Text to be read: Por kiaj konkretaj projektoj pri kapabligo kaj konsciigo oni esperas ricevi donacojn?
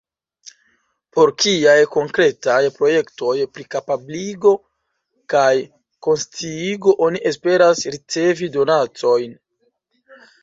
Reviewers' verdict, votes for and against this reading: accepted, 2, 1